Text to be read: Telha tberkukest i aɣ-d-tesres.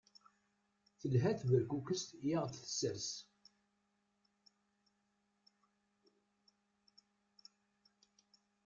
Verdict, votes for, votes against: rejected, 1, 2